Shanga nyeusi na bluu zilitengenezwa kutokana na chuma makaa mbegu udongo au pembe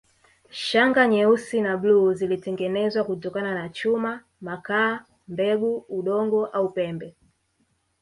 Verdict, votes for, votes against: rejected, 0, 2